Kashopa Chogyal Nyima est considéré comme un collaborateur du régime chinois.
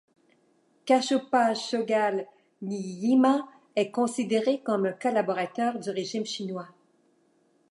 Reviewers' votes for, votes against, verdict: 1, 2, rejected